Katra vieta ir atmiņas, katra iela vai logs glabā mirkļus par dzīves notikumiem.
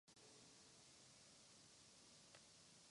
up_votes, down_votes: 1, 2